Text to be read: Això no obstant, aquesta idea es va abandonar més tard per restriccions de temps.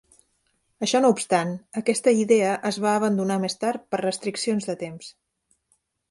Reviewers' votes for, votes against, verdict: 3, 0, accepted